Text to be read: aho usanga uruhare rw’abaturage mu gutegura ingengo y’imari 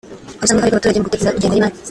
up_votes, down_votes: 0, 2